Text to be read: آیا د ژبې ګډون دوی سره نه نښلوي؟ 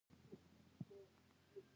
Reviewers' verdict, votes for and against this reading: rejected, 0, 2